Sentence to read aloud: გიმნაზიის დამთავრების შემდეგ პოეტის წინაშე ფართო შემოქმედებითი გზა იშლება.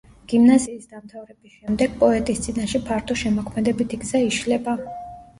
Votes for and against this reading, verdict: 0, 2, rejected